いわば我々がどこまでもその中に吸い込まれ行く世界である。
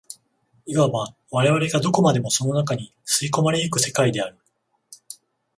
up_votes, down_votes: 14, 0